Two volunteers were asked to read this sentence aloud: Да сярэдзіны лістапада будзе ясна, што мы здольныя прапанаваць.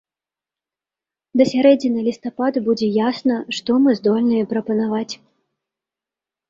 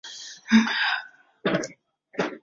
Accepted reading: first